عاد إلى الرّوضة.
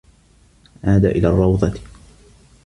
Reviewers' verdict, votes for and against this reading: accepted, 2, 0